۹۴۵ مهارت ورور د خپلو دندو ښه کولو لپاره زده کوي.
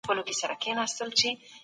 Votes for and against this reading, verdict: 0, 2, rejected